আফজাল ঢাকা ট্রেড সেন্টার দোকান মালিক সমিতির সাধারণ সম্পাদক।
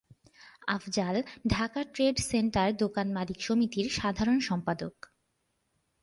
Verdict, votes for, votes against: accepted, 3, 1